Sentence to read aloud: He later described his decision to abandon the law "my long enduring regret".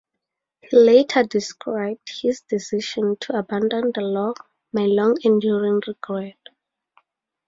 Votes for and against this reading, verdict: 4, 0, accepted